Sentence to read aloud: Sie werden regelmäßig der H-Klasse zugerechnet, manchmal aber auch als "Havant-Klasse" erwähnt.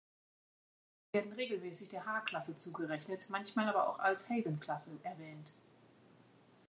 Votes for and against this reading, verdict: 0, 2, rejected